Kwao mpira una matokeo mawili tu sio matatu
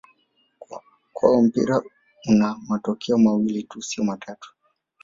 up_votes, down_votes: 1, 2